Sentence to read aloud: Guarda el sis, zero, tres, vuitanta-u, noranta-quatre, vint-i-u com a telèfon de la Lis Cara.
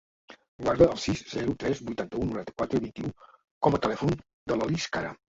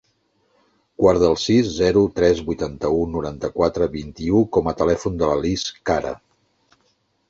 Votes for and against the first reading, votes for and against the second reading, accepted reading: 2, 2, 2, 0, second